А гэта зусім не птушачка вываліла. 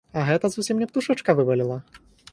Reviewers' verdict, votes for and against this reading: rejected, 0, 4